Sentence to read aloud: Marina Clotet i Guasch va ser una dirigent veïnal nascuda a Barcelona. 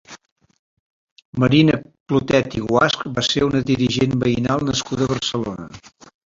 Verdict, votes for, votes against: rejected, 0, 2